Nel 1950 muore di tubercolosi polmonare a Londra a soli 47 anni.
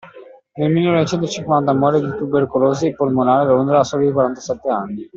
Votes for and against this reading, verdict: 0, 2, rejected